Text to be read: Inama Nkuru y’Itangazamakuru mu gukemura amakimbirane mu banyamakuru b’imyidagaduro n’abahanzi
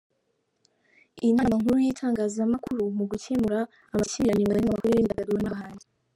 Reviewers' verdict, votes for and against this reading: rejected, 0, 2